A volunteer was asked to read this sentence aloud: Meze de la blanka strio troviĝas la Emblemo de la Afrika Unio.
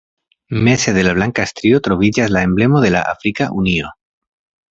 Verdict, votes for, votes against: accepted, 2, 0